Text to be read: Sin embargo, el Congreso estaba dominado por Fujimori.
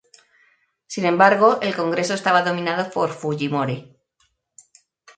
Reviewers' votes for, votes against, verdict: 2, 0, accepted